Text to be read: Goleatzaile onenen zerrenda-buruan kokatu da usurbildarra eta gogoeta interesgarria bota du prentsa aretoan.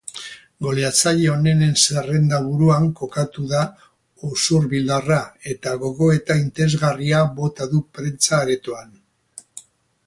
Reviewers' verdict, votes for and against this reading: accepted, 2, 0